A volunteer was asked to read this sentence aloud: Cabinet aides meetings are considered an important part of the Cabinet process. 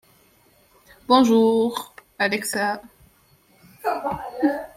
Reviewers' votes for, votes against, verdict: 0, 2, rejected